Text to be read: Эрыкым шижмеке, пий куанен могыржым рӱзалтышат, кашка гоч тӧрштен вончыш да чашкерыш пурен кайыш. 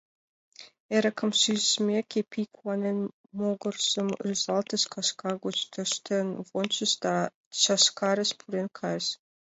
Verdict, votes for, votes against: rejected, 0, 2